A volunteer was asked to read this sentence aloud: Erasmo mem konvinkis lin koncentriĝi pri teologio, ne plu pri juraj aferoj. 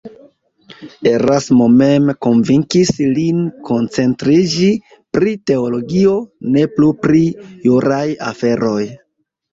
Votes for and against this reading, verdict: 2, 1, accepted